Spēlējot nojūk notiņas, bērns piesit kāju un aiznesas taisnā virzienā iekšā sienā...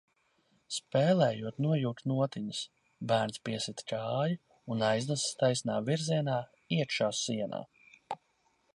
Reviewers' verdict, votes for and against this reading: accepted, 2, 0